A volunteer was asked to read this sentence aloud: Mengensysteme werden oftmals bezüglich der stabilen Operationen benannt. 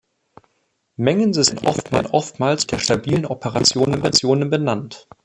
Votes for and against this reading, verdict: 0, 2, rejected